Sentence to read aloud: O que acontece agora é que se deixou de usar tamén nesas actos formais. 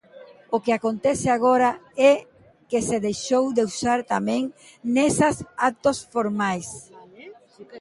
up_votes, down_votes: 2, 1